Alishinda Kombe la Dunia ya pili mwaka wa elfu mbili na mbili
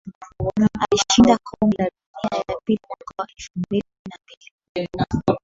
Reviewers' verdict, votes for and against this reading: rejected, 1, 2